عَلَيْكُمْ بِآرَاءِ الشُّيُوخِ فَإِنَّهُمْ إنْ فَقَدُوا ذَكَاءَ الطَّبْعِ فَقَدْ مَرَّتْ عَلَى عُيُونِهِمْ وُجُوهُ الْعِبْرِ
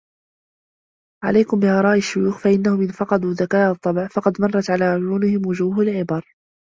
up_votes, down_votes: 1, 2